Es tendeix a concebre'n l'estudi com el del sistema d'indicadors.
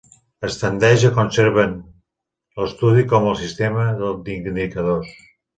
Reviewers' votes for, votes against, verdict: 0, 2, rejected